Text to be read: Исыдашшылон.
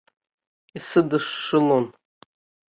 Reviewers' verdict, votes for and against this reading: rejected, 1, 2